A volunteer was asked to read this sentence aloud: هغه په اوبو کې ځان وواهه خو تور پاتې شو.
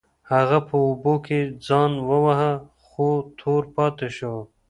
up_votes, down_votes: 2, 1